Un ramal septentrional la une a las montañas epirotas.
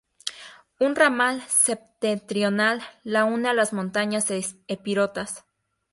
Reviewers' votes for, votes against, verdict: 2, 2, rejected